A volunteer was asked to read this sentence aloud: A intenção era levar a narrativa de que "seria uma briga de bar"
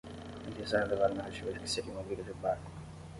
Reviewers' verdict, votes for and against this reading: rejected, 5, 10